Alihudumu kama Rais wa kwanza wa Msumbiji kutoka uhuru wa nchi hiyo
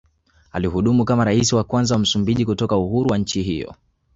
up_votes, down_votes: 2, 0